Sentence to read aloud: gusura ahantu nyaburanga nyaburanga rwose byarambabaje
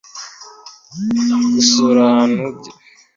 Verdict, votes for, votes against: rejected, 1, 2